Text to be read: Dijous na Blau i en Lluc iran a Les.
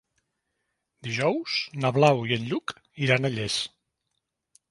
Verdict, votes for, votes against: rejected, 0, 2